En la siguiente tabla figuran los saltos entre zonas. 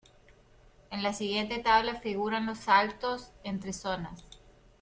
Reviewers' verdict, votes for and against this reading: accepted, 2, 0